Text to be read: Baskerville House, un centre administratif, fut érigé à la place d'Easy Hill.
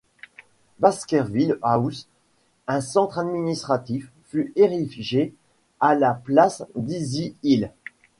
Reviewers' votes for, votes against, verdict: 1, 2, rejected